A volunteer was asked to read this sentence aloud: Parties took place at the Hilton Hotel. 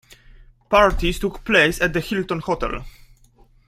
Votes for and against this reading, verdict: 2, 0, accepted